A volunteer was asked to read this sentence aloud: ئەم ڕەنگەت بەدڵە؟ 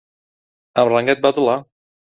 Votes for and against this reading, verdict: 0, 2, rejected